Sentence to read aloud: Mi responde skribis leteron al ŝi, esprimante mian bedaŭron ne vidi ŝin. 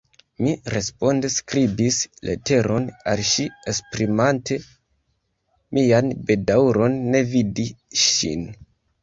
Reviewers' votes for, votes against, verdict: 1, 2, rejected